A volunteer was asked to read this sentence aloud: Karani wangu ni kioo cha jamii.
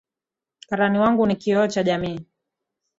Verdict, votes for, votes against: accepted, 12, 1